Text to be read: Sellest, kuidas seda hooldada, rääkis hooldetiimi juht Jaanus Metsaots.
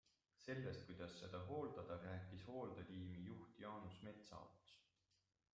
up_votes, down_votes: 2, 0